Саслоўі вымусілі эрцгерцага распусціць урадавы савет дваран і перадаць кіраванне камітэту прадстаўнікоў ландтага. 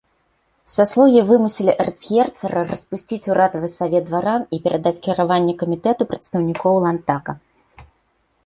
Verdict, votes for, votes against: rejected, 0, 2